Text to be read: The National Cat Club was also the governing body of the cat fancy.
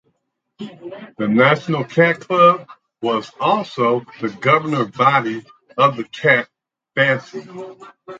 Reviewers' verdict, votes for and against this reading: rejected, 0, 4